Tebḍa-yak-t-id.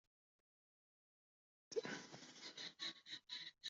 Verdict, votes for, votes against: rejected, 1, 2